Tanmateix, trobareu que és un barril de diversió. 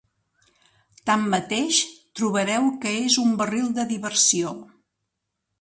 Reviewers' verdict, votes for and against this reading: accepted, 3, 0